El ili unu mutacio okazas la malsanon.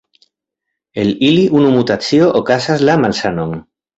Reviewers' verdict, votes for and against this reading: accepted, 2, 0